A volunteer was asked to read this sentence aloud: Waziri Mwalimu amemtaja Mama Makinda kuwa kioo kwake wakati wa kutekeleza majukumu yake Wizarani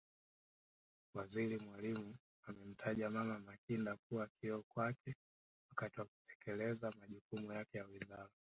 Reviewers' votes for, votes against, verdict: 0, 2, rejected